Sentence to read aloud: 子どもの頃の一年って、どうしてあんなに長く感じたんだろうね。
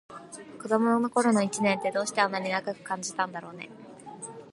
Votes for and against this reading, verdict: 2, 1, accepted